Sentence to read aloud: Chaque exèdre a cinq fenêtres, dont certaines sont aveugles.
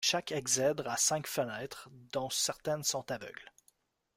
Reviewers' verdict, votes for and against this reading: accepted, 2, 0